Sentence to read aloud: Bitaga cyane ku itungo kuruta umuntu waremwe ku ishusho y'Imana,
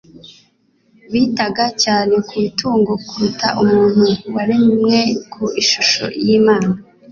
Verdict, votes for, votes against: accepted, 2, 0